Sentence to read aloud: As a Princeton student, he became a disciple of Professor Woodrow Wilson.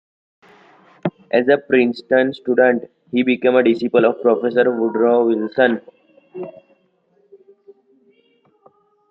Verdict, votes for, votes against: rejected, 1, 2